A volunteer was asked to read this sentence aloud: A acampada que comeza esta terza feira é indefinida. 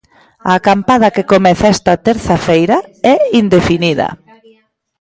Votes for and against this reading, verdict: 0, 2, rejected